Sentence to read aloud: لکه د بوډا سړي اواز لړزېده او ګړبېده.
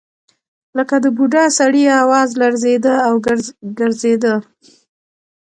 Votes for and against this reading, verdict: 0, 2, rejected